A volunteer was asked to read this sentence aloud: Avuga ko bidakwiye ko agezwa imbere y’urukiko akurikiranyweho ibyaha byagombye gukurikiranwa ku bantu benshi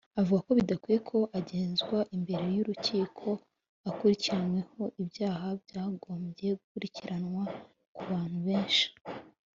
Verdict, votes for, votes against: accepted, 2, 0